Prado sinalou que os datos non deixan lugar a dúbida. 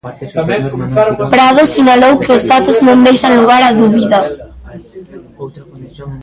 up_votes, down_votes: 0, 3